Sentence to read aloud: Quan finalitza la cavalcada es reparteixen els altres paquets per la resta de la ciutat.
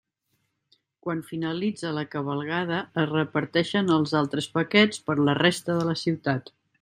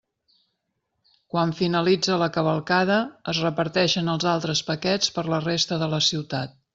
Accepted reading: second